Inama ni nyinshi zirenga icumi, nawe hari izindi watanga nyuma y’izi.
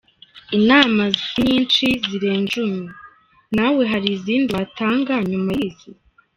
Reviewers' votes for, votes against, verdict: 1, 2, rejected